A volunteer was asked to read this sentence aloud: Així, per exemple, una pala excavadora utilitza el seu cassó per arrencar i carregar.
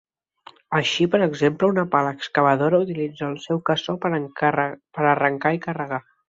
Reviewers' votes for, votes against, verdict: 0, 2, rejected